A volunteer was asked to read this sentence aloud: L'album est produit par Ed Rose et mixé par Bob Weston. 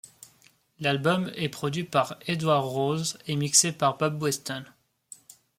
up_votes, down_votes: 1, 2